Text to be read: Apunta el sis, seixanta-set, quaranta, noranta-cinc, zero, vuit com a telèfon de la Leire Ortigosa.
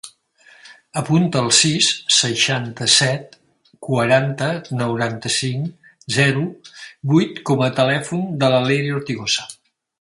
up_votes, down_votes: 4, 1